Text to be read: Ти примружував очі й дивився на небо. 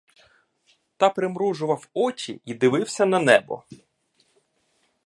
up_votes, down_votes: 1, 2